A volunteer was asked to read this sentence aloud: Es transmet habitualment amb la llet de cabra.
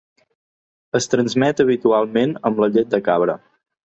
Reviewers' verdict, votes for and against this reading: accepted, 2, 0